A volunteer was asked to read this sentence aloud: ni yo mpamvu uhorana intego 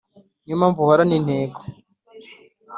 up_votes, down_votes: 3, 0